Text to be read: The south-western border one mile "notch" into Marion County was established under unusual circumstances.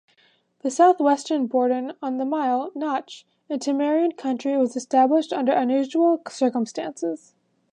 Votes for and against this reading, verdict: 1, 2, rejected